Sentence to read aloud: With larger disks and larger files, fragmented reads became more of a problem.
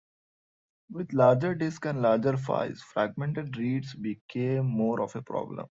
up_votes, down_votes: 2, 1